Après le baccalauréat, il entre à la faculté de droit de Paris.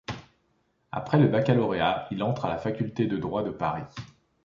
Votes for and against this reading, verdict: 2, 0, accepted